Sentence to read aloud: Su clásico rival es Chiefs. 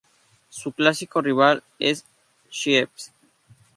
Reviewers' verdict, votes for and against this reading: accepted, 2, 0